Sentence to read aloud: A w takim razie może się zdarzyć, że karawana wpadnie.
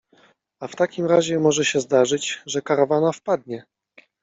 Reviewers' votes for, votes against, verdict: 2, 0, accepted